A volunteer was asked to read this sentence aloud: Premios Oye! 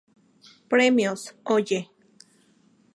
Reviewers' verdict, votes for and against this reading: accepted, 2, 0